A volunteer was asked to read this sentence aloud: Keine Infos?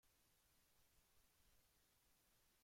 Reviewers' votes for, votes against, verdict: 0, 2, rejected